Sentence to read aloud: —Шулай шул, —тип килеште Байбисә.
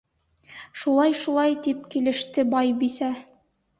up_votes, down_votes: 0, 2